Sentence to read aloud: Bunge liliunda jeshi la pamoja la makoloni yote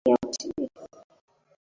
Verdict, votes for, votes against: rejected, 0, 3